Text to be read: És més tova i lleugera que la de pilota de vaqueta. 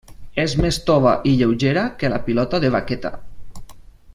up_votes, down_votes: 1, 2